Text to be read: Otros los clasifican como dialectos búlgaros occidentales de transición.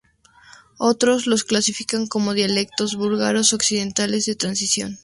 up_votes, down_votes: 2, 0